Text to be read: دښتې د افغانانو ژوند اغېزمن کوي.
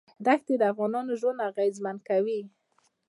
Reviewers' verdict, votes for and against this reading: accepted, 2, 1